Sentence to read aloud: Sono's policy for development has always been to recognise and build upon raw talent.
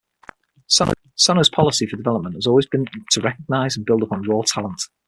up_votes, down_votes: 3, 6